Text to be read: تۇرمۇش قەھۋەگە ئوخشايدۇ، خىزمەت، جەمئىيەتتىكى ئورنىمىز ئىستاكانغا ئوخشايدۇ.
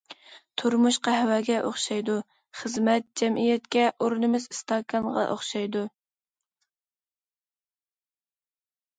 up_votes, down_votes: 1, 2